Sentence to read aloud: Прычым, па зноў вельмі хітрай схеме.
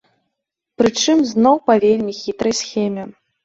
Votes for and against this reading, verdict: 1, 2, rejected